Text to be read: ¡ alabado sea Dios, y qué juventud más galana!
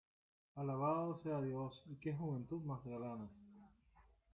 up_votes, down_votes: 0, 2